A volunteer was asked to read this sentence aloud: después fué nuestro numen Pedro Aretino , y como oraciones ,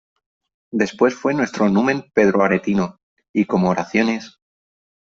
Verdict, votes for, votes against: accepted, 4, 0